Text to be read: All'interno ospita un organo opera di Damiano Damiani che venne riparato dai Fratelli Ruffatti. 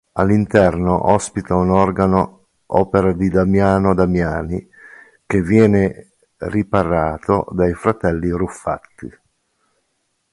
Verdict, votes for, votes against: rejected, 0, 2